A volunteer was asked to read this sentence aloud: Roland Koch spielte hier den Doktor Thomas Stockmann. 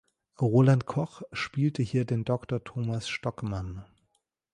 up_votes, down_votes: 3, 0